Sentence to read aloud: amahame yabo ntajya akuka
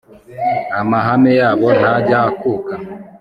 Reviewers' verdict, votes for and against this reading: accepted, 3, 0